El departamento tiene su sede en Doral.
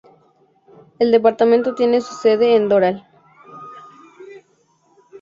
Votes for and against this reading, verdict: 2, 0, accepted